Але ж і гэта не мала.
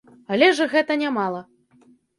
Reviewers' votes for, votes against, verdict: 2, 0, accepted